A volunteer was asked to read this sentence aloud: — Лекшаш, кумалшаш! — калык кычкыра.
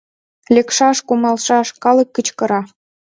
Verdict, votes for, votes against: accepted, 4, 1